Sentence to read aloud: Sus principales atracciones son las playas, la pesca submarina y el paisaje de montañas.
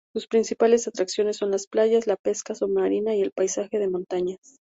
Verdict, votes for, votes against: rejected, 0, 2